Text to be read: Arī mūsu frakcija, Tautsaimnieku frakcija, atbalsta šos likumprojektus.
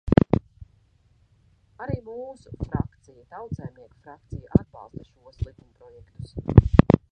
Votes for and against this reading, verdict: 0, 2, rejected